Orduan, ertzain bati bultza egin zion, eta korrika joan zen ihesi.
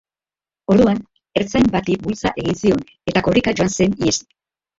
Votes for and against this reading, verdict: 0, 2, rejected